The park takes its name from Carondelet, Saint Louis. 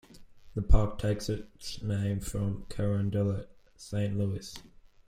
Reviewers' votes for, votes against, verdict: 1, 2, rejected